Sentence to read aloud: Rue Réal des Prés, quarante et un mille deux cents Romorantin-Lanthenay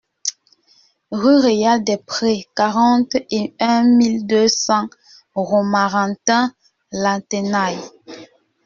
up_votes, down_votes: 1, 2